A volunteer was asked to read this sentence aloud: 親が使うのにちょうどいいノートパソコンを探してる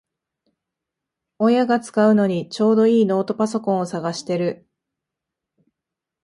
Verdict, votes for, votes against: accepted, 2, 0